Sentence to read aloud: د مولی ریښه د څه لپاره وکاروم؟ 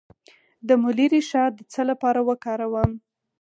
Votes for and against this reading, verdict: 4, 0, accepted